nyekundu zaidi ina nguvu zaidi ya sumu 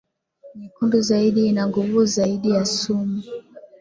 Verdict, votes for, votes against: accepted, 3, 1